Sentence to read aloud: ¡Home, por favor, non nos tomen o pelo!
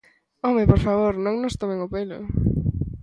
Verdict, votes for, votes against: accepted, 2, 1